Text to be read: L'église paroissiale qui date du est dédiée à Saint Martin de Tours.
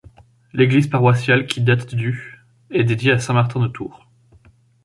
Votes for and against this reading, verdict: 2, 0, accepted